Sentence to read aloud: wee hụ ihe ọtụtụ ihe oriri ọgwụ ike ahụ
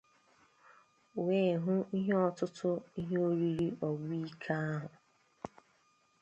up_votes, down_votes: 0, 2